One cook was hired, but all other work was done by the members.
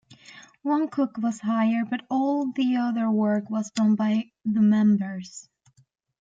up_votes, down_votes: 1, 2